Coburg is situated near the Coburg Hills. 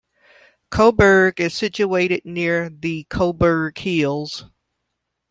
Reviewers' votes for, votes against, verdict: 2, 0, accepted